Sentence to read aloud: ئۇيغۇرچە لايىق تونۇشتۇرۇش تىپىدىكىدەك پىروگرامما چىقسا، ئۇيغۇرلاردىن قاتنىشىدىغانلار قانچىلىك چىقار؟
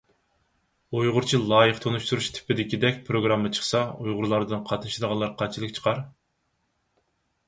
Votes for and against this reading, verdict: 4, 0, accepted